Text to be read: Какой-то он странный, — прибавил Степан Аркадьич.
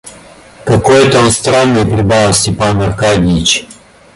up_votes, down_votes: 2, 0